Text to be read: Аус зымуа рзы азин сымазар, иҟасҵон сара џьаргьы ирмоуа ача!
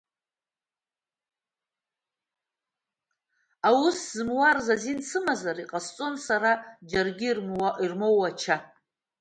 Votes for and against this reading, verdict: 0, 2, rejected